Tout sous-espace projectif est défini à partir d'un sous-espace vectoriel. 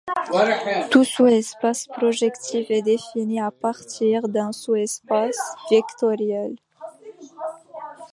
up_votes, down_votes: 0, 2